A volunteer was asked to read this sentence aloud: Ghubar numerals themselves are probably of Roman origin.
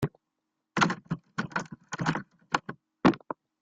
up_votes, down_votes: 0, 2